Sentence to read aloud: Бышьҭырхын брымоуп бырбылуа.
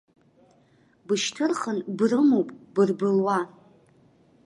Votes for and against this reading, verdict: 2, 0, accepted